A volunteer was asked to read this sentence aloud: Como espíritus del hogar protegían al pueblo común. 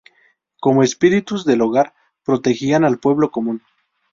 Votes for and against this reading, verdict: 2, 2, rejected